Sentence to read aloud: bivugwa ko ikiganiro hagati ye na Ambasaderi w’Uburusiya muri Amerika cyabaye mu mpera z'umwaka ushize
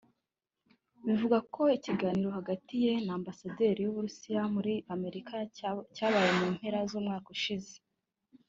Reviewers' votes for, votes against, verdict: 4, 1, accepted